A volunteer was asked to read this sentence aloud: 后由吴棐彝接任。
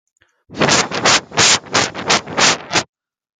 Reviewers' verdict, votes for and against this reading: rejected, 0, 2